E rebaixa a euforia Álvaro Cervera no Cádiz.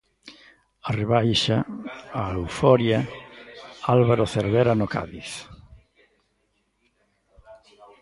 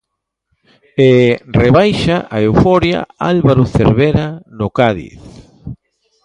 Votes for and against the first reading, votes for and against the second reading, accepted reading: 0, 3, 2, 0, second